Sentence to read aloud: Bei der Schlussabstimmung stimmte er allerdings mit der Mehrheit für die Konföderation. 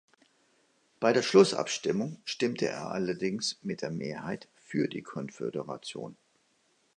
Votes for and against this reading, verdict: 2, 0, accepted